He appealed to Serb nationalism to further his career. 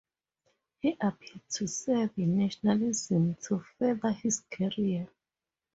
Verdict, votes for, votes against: accepted, 4, 0